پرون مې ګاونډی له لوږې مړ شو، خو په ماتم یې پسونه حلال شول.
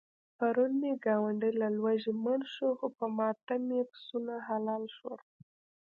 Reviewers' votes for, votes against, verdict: 0, 2, rejected